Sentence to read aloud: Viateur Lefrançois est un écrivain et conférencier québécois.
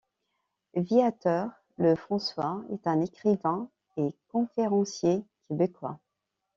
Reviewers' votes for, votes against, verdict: 2, 0, accepted